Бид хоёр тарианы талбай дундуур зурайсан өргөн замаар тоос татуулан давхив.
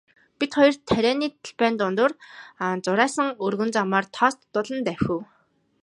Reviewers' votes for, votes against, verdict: 1, 2, rejected